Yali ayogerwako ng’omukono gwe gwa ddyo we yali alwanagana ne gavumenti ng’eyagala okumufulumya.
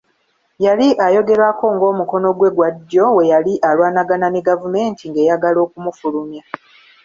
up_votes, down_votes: 2, 0